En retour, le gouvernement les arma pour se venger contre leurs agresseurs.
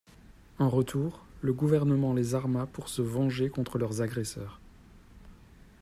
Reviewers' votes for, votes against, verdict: 1, 2, rejected